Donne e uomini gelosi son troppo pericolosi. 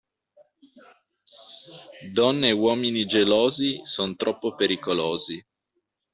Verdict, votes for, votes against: accepted, 2, 0